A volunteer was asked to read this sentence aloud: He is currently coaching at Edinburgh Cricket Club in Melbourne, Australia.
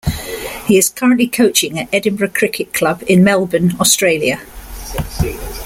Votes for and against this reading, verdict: 1, 2, rejected